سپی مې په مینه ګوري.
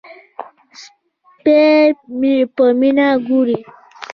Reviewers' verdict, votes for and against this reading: accepted, 2, 0